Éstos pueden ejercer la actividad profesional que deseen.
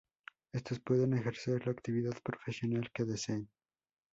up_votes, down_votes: 4, 0